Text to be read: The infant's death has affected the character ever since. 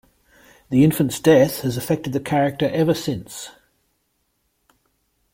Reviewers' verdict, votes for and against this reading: accepted, 2, 0